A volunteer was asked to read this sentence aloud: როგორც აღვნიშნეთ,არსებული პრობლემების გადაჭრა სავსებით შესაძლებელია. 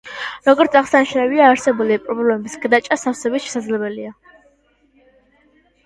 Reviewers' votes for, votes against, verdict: 0, 2, rejected